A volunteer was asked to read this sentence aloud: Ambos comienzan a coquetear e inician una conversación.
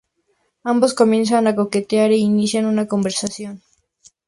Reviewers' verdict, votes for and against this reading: accepted, 2, 0